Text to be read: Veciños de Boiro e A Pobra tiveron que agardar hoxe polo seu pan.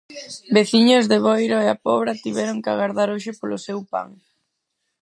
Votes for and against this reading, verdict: 2, 4, rejected